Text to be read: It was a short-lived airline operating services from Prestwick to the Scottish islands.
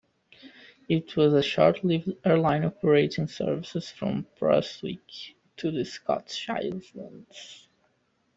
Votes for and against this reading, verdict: 1, 2, rejected